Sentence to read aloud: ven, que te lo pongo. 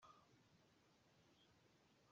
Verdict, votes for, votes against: rejected, 0, 2